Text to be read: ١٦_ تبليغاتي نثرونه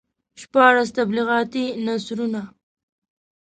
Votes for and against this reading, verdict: 0, 2, rejected